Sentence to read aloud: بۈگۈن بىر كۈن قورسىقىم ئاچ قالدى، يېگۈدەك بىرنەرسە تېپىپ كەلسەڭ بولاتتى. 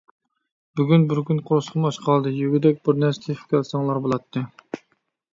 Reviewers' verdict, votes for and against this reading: rejected, 1, 2